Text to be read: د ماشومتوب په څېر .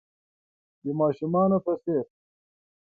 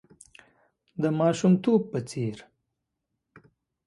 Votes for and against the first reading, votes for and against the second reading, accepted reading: 1, 7, 2, 0, second